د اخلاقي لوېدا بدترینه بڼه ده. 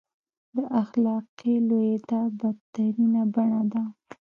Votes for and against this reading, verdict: 1, 2, rejected